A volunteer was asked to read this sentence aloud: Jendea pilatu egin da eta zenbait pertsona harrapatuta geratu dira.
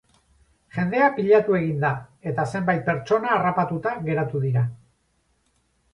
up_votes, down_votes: 2, 0